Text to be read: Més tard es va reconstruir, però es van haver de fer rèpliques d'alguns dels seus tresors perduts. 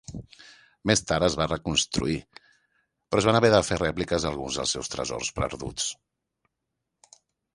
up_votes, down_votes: 1, 2